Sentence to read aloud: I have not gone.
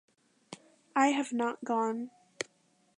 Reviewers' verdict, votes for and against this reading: accepted, 2, 0